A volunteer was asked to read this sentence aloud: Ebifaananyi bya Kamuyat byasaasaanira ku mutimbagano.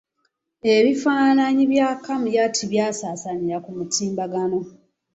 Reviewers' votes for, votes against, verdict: 1, 2, rejected